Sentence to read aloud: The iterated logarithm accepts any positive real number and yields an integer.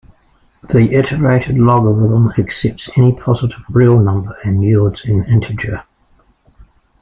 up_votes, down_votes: 3, 2